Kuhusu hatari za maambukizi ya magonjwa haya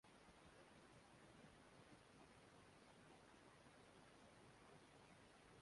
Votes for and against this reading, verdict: 0, 2, rejected